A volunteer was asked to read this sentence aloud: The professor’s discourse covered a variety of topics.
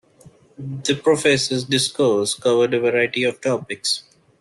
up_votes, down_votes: 2, 0